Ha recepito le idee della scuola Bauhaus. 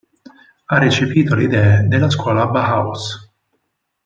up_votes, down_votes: 0, 4